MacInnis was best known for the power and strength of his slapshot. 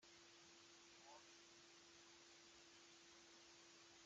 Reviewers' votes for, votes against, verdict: 0, 2, rejected